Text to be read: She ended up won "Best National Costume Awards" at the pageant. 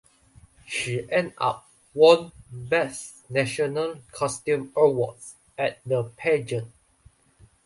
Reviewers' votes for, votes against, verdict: 0, 2, rejected